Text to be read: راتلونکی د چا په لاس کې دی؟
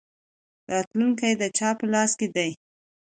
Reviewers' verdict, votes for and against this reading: accepted, 2, 0